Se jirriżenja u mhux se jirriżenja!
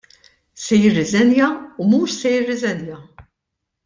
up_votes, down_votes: 2, 0